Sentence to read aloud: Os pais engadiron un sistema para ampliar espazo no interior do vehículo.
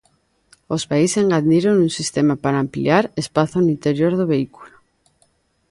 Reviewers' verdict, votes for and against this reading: rejected, 1, 2